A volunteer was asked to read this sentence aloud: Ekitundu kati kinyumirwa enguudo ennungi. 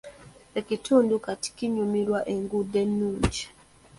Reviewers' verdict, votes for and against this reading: accepted, 2, 0